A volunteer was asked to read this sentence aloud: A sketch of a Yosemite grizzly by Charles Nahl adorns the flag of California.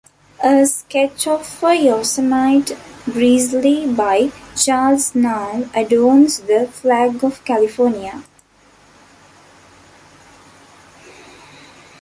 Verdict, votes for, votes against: rejected, 0, 2